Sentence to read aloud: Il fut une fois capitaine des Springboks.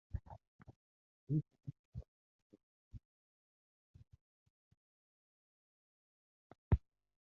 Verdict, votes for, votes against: rejected, 1, 2